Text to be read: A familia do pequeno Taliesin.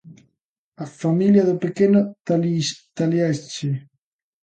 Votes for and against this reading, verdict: 1, 2, rejected